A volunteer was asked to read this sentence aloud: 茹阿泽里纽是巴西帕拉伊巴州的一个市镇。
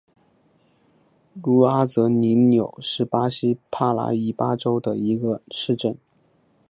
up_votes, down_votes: 4, 0